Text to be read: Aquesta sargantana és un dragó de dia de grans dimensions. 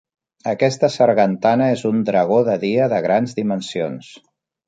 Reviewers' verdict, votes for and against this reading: accepted, 4, 0